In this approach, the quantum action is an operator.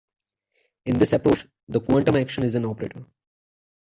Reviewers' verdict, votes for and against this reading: accepted, 2, 0